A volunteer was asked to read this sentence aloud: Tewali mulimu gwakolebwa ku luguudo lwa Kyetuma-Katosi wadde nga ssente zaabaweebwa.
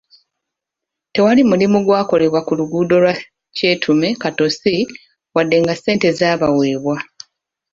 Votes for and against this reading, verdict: 3, 0, accepted